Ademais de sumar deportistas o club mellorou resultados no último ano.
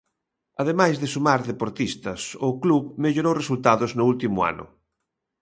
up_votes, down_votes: 2, 0